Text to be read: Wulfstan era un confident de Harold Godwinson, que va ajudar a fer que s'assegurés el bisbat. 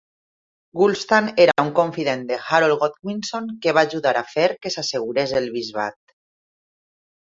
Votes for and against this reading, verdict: 2, 0, accepted